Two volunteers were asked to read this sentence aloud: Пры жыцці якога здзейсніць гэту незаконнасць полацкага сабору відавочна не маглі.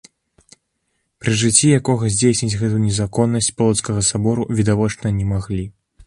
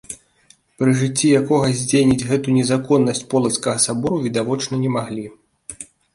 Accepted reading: first